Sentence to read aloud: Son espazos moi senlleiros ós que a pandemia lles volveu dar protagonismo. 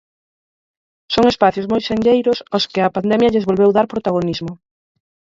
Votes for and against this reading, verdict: 4, 0, accepted